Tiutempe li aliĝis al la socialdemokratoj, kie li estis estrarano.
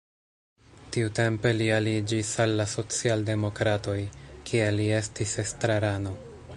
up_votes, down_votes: 2, 0